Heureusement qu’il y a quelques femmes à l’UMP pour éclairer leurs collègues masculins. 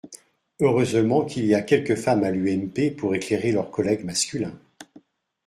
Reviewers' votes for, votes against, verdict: 2, 0, accepted